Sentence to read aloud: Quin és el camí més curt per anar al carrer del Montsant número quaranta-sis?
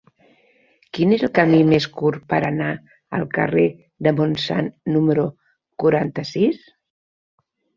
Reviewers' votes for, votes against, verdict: 2, 0, accepted